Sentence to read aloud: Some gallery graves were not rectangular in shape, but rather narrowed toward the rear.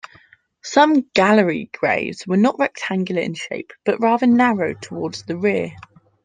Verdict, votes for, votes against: rejected, 0, 2